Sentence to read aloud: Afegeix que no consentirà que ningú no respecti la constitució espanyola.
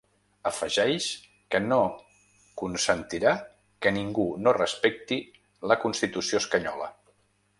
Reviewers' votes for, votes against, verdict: 1, 2, rejected